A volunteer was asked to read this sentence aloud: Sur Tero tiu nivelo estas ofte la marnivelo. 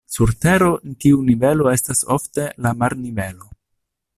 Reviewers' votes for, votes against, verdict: 0, 2, rejected